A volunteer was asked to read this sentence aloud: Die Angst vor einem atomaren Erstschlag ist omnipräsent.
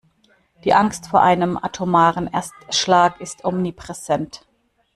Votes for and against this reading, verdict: 2, 0, accepted